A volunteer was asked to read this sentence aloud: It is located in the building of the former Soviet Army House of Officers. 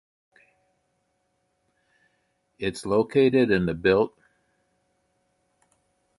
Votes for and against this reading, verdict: 0, 2, rejected